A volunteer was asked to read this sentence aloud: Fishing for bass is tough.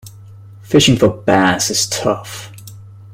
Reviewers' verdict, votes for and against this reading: accepted, 2, 0